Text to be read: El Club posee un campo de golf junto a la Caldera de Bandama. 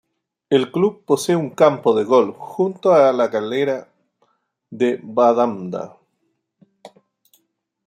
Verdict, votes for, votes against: rejected, 0, 2